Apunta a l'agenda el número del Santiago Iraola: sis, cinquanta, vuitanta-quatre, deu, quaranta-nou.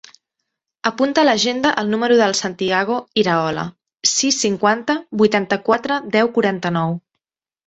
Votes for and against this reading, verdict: 2, 0, accepted